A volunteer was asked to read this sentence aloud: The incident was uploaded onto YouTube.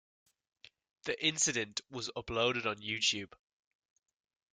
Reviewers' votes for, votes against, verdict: 1, 2, rejected